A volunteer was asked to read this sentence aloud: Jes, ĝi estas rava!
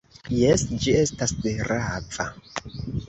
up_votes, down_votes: 1, 2